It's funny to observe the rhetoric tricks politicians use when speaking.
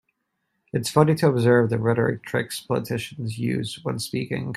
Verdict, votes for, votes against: accepted, 2, 1